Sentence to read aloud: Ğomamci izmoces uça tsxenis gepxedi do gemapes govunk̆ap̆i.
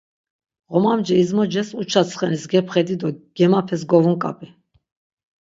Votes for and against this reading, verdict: 6, 0, accepted